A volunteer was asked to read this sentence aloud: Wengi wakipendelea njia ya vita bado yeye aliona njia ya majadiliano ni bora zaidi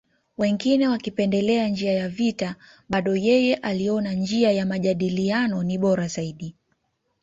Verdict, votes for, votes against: rejected, 0, 2